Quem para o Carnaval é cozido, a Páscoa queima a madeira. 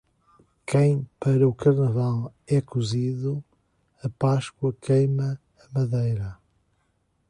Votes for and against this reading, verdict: 2, 0, accepted